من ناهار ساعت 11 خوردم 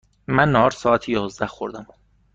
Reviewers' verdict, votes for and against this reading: rejected, 0, 2